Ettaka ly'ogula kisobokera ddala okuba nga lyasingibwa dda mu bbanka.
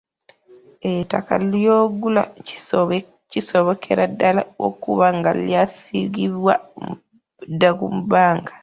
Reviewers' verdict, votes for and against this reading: rejected, 1, 2